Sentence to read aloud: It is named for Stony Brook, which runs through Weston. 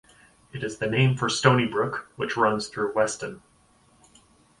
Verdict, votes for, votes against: rejected, 0, 2